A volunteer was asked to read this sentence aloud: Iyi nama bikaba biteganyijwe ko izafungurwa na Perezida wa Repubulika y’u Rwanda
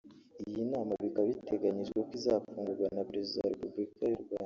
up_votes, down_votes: 3, 4